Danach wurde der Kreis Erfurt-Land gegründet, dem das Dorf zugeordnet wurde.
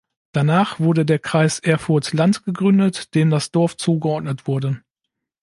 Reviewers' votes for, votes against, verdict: 2, 0, accepted